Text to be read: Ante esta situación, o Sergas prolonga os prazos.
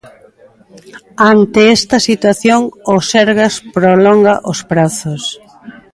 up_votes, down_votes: 2, 0